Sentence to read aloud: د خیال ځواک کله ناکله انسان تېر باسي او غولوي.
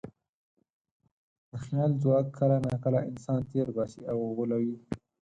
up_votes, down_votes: 4, 0